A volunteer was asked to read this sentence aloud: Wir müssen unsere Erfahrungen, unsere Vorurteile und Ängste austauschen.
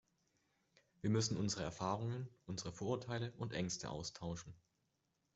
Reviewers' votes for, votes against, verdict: 2, 0, accepted